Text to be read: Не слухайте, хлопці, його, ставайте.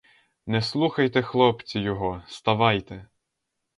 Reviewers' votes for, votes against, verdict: 4, 0, accepted